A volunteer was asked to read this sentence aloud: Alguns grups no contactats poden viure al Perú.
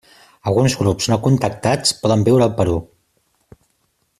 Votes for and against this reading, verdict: 3, 0, accepted